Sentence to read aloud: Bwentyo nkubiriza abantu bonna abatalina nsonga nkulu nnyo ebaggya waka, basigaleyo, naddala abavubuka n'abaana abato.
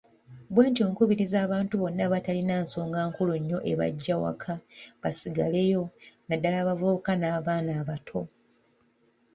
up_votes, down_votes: 1, 2